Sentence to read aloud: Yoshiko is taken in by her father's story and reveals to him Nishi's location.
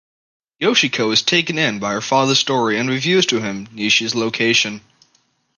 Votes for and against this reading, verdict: 2, 0, accepted